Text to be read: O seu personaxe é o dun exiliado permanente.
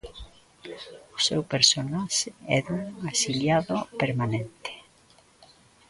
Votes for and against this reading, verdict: 0, 2, rejected